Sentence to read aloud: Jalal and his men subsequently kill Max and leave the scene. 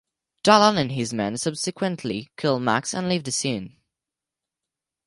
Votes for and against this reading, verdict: 4, 0, accepted